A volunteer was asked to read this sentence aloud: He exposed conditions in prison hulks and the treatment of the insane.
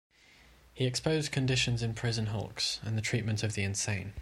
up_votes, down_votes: 2, 0